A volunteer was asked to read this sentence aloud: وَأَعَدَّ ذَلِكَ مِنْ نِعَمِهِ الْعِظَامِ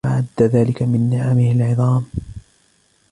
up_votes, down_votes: 2, 0